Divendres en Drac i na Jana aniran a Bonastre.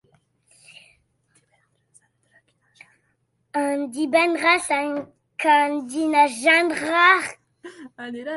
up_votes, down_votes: 0, 2